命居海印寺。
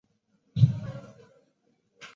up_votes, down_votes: 0, 2